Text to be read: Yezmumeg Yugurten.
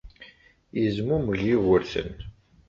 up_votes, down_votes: 2, 0